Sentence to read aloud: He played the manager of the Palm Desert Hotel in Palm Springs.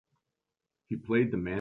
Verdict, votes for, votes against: rejected, 0, 2